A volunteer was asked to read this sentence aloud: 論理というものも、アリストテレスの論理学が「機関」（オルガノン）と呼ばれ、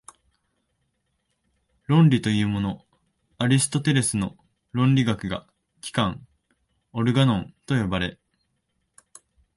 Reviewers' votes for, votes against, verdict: 0, 2, rejected